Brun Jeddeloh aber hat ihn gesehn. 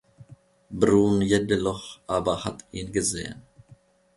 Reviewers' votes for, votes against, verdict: 1, 2, rejected